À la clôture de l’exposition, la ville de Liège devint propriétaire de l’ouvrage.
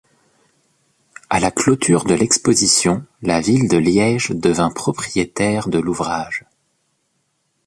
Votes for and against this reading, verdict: 2, 0, accepted